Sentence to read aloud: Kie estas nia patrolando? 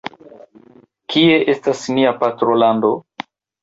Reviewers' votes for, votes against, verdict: 2, 0, accepted